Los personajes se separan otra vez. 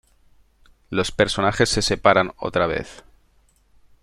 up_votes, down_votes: 2, 0